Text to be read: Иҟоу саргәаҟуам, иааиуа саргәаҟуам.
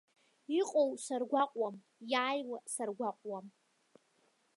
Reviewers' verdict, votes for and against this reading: accepted, 2, 0